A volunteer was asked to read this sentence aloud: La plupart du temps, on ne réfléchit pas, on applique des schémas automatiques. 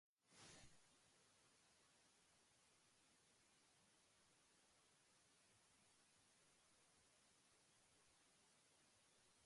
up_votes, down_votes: 0, 2